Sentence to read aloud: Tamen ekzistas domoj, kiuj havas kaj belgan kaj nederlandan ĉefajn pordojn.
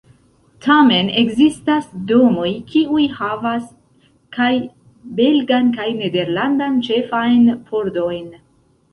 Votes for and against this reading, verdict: 2, 0, accepted